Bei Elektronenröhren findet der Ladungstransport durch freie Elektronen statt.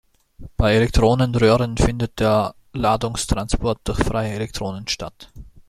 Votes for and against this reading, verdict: 2, 0, accepted